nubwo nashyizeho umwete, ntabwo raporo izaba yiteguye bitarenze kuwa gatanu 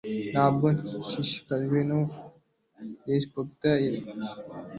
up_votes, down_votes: 0, 2